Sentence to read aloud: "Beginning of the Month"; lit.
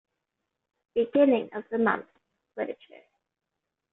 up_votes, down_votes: 3, 1